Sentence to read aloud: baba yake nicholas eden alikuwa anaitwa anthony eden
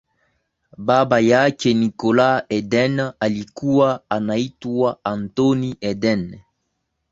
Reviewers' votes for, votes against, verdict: 1, 3, rejected